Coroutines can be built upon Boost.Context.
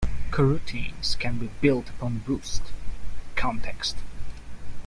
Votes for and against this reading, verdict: 1, 2, rejected